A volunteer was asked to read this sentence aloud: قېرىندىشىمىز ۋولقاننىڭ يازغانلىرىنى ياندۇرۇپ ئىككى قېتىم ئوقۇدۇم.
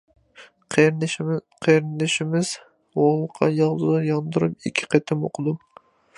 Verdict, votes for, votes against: rejected, 0, 2